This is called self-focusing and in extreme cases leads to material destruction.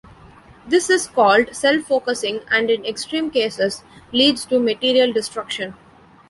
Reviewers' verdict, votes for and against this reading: accepted, 2, 0